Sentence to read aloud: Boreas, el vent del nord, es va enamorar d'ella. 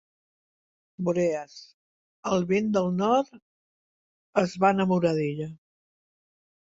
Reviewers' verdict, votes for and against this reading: accepted, 3, 0